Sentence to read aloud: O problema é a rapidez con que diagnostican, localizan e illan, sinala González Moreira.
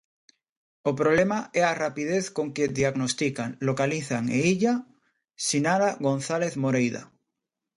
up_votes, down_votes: 0, 2